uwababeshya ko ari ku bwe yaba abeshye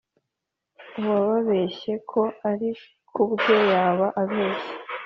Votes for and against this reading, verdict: 3, 0, accepted